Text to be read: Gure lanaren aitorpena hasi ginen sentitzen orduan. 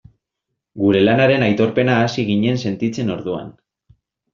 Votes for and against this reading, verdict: 2, 0, accepted